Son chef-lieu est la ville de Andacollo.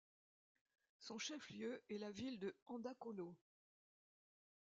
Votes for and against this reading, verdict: 2, 0, accepted